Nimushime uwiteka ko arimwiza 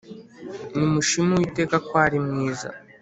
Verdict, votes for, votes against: accepted, 3, 0